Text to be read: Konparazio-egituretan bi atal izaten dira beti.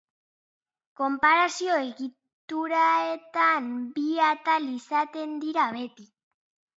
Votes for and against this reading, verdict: 0, 2, rejected